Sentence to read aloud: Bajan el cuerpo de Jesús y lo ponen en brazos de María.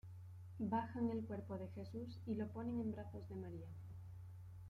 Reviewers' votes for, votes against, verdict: 2, 0, accepted